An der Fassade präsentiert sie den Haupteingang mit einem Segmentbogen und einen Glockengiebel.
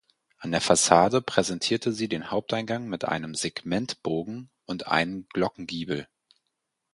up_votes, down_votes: 0, 4